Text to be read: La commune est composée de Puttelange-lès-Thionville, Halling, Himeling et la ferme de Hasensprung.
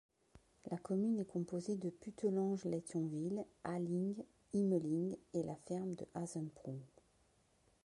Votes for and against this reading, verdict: 0, 2, rejected